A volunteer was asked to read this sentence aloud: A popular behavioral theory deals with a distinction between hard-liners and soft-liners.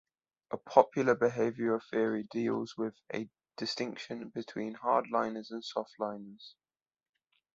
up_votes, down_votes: 2, 0